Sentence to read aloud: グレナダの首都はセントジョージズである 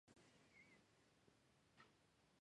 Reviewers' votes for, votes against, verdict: 0, 3, rejected